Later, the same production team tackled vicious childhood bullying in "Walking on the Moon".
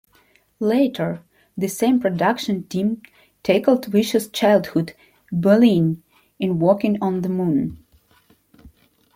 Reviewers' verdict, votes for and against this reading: rejected, 1, 2